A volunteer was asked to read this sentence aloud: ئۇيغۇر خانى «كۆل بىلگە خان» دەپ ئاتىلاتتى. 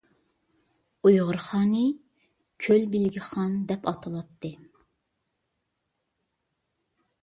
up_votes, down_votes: 2, 0